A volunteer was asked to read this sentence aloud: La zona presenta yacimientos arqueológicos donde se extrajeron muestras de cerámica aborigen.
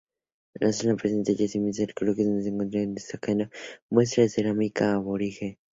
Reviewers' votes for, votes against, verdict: 2, 2, rejected